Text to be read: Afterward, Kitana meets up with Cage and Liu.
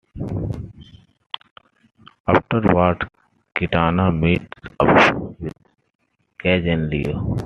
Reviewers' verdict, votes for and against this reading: rejected, 1, 2